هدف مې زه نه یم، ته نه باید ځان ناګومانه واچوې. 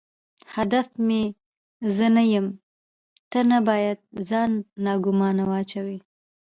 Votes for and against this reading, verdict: 2, 1, accepted